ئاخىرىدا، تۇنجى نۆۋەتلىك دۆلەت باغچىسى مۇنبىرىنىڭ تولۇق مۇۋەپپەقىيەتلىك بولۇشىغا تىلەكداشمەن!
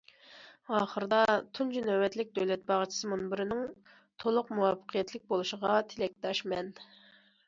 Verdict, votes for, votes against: accepted, 2, 0